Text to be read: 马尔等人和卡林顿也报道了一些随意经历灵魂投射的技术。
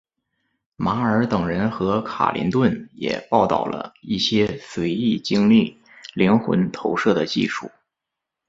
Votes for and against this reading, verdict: 1, 2, rejected